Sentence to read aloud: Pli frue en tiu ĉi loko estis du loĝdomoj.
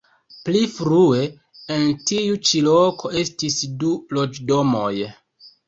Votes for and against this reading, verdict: 2, 0, accepted